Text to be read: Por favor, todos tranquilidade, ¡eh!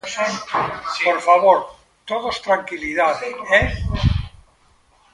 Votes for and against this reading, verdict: 1, 2, rejected